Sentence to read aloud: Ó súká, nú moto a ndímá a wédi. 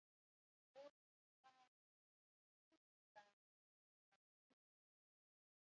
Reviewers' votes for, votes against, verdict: 0, 2, rejected